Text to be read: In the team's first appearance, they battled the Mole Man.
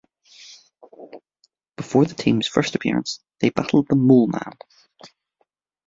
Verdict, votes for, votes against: rejected, 0, 2